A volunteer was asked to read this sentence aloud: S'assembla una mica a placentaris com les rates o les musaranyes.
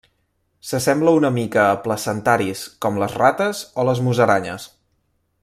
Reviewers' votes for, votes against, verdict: 3, 0, accepted